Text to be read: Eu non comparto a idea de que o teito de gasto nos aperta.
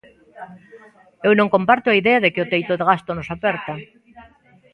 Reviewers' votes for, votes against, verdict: 2, 0, accepted